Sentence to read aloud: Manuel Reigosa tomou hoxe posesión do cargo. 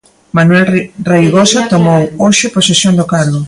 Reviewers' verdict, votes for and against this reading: rejected, 0, 2